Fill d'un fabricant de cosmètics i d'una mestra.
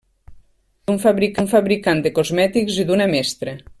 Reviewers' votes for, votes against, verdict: 0, 2, rejected